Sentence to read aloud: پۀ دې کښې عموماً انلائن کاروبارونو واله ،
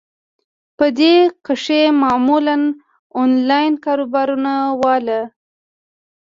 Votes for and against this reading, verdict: 1, 2, rejected